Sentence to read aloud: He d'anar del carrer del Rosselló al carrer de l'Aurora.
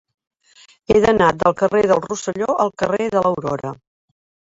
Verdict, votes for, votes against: accepted, 3, 0